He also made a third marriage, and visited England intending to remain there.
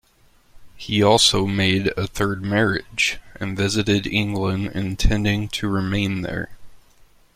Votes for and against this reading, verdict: 2, 0, accepted